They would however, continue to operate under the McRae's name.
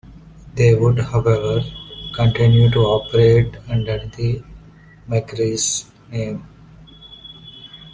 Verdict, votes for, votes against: accepted, 2, 0